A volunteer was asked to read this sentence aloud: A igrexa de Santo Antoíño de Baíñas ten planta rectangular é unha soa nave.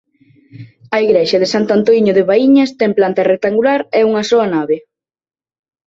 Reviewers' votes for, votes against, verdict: 2, 0, accepted